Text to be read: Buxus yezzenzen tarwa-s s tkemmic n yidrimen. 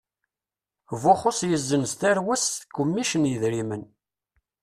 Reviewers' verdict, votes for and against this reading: rejected, 1, 2